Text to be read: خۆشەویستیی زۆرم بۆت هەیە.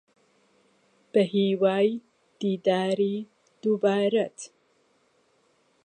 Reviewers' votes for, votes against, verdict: 0, 2, rejected